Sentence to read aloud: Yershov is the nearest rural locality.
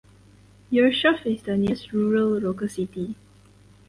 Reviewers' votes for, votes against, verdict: 0, 4, rejected